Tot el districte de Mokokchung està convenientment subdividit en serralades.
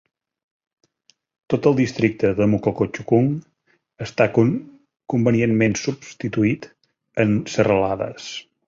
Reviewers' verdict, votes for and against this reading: rejected, 0, 2